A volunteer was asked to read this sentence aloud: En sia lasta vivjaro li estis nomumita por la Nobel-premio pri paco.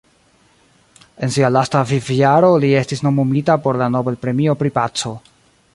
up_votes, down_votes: 2, 0